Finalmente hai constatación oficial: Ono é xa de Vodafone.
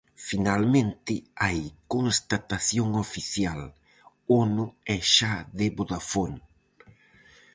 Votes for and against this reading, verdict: 4, 0, accepted